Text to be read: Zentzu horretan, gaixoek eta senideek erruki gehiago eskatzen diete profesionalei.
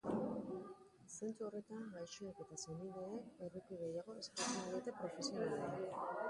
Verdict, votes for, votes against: rejected, 0, 4